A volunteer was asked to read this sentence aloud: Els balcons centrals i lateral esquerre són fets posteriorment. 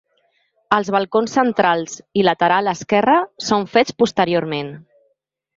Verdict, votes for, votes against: accepted, 2, 0